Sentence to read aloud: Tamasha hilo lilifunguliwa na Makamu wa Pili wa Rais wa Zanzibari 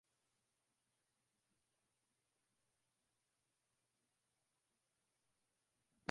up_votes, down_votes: 0, 2